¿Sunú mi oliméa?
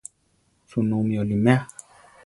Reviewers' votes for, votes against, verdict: 4, 0, accepted